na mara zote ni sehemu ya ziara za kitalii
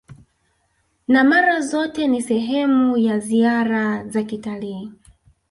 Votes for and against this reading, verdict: 2, 0, accepted